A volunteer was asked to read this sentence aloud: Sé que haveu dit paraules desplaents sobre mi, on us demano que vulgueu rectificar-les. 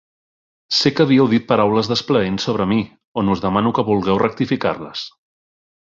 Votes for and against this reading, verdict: 1, 2, rejected